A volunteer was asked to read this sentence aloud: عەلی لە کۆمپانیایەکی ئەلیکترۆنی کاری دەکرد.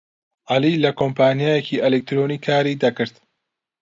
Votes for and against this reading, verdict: 2, 0, accepted